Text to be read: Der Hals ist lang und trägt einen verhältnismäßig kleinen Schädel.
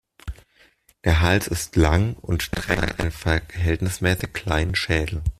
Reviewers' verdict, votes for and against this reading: rejected, 0, 2